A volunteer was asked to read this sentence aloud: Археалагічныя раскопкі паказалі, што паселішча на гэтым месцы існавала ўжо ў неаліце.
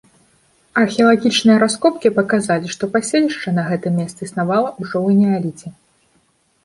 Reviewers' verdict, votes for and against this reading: accepted, 2, 0